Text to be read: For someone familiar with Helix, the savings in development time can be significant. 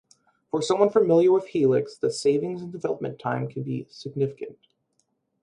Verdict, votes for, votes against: rejected, 2, 4